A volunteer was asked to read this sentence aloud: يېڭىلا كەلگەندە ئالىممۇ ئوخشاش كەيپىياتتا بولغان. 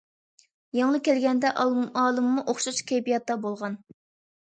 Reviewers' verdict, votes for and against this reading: rejected, 0, 2